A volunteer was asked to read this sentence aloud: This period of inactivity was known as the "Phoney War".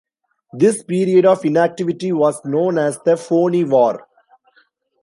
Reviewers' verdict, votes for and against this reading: accepted, 2, 1